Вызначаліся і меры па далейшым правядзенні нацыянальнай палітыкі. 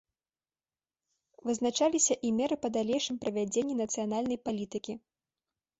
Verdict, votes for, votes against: accepted, 2, 0